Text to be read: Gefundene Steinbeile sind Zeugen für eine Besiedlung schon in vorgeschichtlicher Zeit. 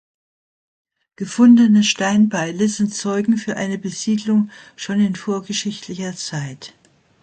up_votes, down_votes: 2, 0